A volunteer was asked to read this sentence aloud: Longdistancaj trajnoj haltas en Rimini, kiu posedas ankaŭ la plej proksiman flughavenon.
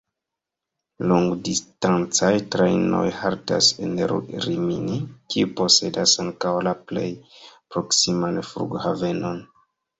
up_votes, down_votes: 2, 1